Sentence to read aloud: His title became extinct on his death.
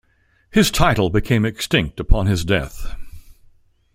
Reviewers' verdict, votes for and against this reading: rejected, 1, 2